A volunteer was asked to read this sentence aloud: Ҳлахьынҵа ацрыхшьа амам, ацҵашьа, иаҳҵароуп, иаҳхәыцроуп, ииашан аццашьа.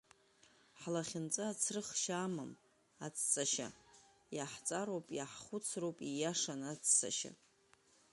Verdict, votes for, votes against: accepted, 5, 1